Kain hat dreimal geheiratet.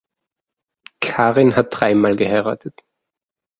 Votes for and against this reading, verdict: 0, 2, rejected